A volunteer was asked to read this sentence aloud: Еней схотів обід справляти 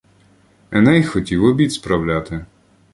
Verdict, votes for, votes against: rejected, 0, 2